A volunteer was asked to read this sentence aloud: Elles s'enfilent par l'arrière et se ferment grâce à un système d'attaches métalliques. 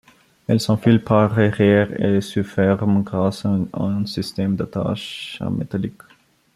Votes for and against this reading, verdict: 1, 2, rejected